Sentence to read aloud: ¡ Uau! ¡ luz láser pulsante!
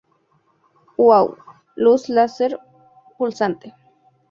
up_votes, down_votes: 2, 0